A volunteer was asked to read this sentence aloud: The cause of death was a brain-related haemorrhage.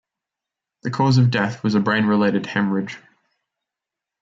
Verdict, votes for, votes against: rejected, 0, 2